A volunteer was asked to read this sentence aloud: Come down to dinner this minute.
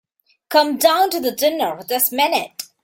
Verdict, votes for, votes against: rejected, 0, 3